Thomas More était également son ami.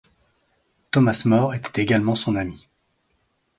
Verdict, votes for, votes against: accepted, 2, 0